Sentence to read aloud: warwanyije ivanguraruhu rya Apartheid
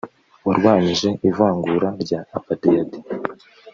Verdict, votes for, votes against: rejected, 1, 2